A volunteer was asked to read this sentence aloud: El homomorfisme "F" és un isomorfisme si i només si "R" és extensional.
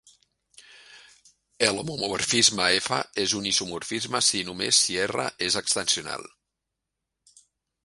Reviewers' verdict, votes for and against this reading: accepted, 2, 1